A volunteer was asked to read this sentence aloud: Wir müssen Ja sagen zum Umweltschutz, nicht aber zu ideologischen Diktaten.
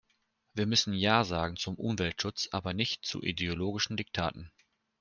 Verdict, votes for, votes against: rejected, 1, 2